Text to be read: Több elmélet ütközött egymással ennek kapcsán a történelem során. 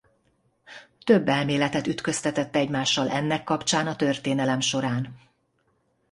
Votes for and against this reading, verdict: 0, 2, rejected